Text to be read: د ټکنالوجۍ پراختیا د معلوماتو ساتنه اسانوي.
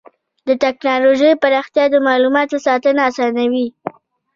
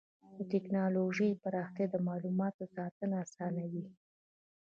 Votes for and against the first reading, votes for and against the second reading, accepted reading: 1, 2, 2, 0, second